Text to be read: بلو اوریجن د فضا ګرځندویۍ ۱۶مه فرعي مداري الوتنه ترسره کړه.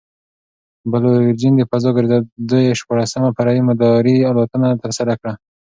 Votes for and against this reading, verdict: 0, 2, rejected